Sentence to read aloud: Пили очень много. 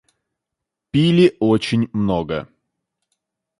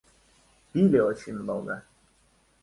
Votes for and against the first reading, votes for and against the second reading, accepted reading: 2, 0, 0, 2, first